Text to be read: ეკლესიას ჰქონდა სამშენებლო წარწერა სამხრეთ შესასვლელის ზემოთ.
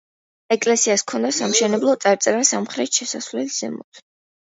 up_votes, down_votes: 2, 0